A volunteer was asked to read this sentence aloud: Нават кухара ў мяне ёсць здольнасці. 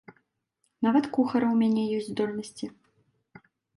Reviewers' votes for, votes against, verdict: 2, 0, accepted